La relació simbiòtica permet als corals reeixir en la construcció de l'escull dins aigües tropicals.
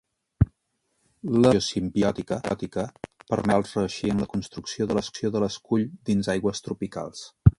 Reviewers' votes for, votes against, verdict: 0, 2, rejected